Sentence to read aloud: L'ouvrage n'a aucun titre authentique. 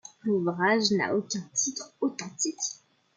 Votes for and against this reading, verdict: 1, 2, rejected